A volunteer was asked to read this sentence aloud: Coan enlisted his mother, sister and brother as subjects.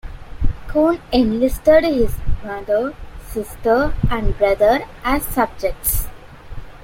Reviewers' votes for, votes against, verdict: 2, 0, accepted